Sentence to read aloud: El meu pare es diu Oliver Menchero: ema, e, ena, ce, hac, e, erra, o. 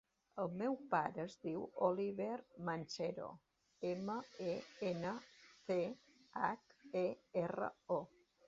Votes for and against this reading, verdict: 2, 0, accepted